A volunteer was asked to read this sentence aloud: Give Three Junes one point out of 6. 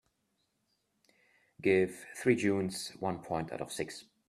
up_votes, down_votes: 0, 2